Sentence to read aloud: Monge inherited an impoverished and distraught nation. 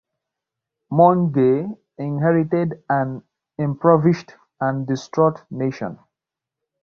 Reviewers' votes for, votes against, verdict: 1, 2, rejected